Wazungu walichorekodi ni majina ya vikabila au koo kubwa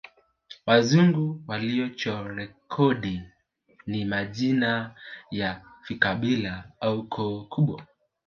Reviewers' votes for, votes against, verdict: 2, 1, accepted